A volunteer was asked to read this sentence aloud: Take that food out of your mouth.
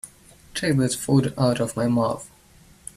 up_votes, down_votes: 0, 2